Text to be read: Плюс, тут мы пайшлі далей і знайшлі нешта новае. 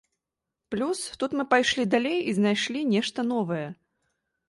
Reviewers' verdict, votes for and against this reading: accepted, 2, 0